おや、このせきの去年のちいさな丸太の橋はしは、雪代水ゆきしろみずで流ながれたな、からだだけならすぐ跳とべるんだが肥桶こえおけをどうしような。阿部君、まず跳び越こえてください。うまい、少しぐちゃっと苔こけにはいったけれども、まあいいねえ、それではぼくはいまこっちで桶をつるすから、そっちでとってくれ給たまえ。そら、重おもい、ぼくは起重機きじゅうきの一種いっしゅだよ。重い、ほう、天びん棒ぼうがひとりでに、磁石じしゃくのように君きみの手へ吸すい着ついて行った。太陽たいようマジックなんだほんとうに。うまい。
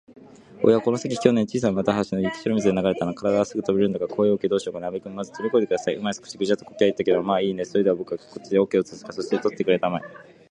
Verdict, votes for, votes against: rejected, 1, 2